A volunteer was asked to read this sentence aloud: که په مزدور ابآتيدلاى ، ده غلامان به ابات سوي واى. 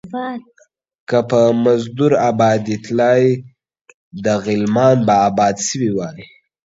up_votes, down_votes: 2, 1